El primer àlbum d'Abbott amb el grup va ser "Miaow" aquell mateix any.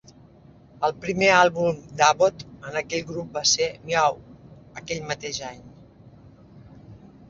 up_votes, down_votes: 0, 2